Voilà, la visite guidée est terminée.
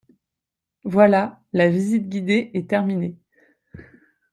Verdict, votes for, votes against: accepted, 2, 0